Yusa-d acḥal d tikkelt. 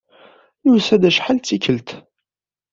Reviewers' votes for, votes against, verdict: 1, 2, rejected